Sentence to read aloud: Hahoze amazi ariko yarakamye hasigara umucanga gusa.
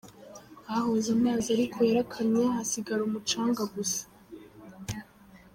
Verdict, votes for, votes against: accepted, 2, 1